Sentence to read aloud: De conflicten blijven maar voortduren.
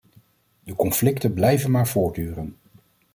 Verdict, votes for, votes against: accepted, 2, 0